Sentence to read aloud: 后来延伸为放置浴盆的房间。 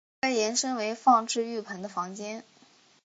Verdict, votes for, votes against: accepted, 2, 0